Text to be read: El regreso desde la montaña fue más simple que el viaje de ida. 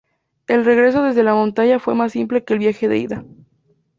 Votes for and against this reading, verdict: 2, 0, accepted